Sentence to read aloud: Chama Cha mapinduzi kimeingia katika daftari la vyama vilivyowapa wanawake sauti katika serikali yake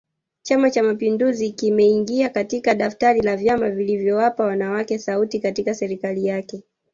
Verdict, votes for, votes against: accepted, 2, 1